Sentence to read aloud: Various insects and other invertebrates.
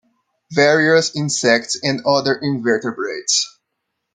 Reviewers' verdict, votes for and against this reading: accepted, 2, 0